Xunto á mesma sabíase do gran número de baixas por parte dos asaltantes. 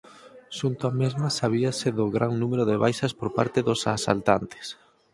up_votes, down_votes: 4, 0